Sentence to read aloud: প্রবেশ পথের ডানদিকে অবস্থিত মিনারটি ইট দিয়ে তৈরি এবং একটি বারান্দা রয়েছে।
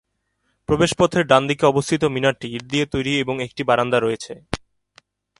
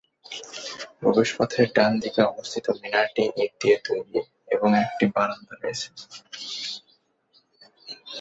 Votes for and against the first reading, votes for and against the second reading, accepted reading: 3, 0, 0, 2, first